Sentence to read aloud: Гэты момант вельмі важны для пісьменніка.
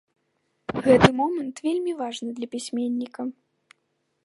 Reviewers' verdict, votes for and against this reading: accepted, 2, 0